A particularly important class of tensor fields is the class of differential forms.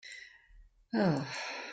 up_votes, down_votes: 0, 2